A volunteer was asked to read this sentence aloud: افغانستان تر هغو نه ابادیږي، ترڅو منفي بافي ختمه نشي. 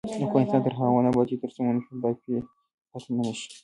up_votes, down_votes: 1, 2